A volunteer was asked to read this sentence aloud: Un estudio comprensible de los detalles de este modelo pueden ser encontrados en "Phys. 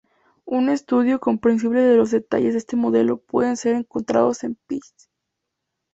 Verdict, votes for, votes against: accepted, 2, 0